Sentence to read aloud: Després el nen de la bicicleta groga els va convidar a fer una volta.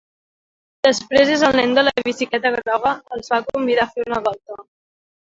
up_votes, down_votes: 1, 2